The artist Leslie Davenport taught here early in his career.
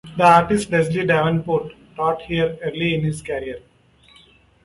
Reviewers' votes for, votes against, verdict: 2, 0, accepted